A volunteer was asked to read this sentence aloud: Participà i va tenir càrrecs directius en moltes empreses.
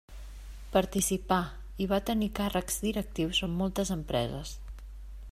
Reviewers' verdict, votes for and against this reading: accepted, 2, 0